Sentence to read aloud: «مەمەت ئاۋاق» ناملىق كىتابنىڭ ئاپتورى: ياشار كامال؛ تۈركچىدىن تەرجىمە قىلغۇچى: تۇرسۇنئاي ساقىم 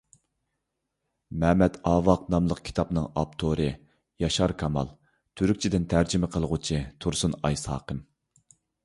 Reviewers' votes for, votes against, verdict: 2, 0, accepted